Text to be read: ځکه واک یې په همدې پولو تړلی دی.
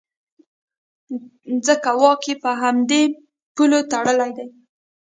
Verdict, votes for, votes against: rejected, 0, 2